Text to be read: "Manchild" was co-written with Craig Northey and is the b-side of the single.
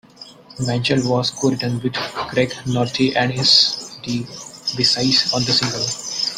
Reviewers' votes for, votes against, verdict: 1, 2, rejected